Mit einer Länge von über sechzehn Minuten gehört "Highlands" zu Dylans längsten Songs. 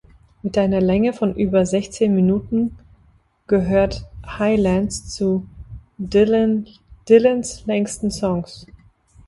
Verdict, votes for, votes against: rejected, 0, 3